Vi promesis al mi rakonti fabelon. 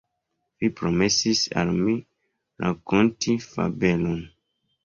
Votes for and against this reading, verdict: 2, 1, accepted